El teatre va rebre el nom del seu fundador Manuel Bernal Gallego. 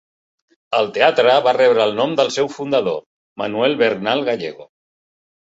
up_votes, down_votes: 5, 0